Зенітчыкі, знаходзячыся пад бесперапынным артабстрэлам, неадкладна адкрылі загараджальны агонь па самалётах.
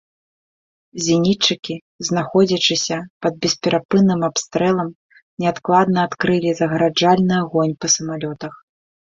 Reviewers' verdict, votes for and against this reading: accepted, 2, 0